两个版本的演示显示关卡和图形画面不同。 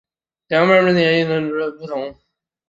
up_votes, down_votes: 0, 3